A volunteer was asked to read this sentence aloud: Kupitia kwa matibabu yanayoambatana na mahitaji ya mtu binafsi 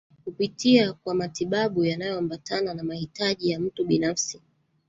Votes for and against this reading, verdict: 1, 2, rejected